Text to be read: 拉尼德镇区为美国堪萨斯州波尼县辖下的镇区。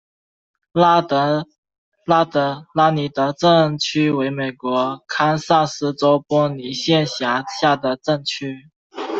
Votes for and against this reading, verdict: 1, 2, rejected